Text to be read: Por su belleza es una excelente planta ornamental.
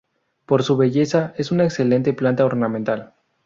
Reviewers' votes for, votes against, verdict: 2, 0, accepted